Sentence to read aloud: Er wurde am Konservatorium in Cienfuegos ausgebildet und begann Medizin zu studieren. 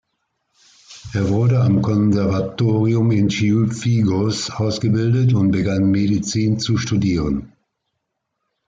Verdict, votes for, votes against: accepted, 2, 1